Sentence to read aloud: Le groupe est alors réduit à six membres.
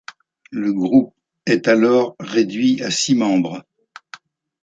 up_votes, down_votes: 2, 0